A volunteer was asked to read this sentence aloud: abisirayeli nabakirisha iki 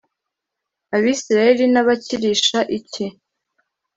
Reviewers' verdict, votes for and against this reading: accepted, 2, 0